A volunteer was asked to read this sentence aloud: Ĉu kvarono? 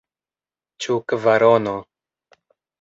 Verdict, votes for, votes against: accepted, 2, 0